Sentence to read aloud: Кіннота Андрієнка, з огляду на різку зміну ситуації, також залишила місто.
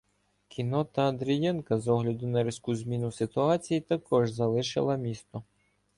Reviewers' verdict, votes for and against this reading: accepted, 2, 0